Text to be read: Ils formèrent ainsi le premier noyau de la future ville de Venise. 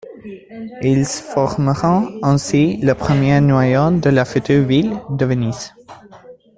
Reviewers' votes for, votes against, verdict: 0, 2, rejected